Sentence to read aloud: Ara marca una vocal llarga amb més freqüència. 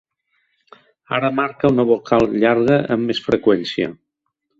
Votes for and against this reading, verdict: 3, 0, accepted